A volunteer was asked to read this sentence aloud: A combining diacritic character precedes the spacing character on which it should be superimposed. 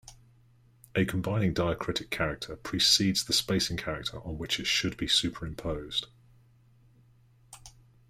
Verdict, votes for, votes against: accepted, 2, 0